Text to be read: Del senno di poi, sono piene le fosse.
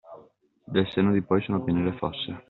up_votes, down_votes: 2, 0